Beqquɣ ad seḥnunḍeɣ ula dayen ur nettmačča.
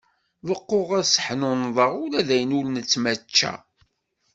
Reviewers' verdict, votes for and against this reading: accepted, 2, 0